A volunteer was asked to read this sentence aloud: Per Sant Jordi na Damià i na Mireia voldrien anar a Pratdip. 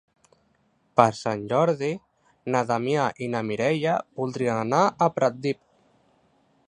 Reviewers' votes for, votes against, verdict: 3, 0, accepted